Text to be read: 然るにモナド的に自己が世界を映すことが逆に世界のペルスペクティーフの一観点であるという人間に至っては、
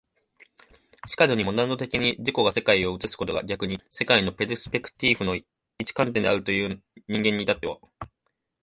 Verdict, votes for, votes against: accepted, 2, 1